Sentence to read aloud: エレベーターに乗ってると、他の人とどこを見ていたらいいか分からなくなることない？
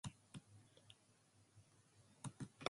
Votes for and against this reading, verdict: 1, 2, rejected